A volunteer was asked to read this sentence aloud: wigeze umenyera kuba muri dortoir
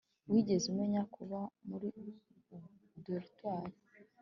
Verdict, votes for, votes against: accepted, 2, 0